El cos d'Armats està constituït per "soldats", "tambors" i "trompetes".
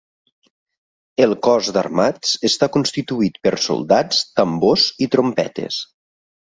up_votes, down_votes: 3, 0